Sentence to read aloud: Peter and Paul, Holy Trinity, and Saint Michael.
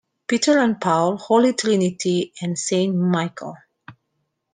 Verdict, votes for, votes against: accepted, 2, 1